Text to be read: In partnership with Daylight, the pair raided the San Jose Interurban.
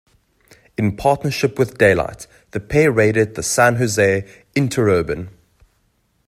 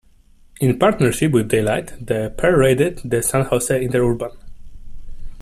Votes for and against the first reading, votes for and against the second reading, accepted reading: 2, 0, 1, 2, first